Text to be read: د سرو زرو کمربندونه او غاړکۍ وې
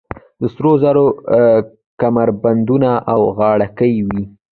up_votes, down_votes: 2, 0